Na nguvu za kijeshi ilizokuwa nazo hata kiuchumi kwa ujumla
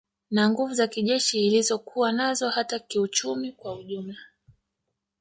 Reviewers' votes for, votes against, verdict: 1, 2, rejected